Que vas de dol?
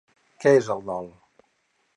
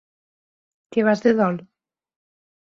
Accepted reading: second